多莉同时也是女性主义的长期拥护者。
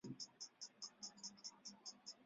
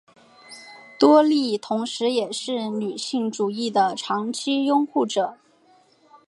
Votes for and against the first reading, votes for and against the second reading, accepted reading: 0, 2, 3, 0, second